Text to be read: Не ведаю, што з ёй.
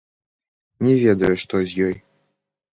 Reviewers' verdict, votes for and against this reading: rejected, 1, 2